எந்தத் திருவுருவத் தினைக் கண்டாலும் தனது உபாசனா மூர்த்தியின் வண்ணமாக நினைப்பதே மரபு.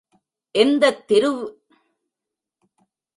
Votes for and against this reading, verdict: 0, 2, rejected